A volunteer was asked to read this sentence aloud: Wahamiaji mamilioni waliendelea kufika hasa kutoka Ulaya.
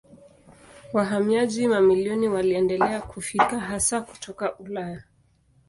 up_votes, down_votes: 2, 0